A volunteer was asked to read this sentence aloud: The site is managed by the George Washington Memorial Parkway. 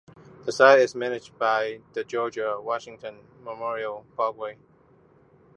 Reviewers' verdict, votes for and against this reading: accepted, 2, 0